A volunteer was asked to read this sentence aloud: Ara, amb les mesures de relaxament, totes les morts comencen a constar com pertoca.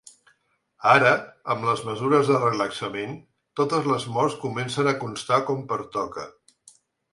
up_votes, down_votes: 6, 0